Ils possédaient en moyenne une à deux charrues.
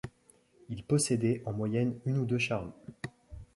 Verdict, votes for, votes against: rejected, 0, 2